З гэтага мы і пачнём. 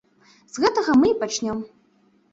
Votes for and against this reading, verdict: 2, 0, accepted